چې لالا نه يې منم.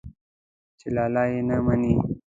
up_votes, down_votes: 0, 2